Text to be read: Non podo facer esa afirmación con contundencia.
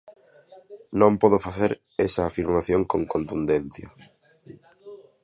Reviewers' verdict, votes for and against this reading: accepted, 2, 0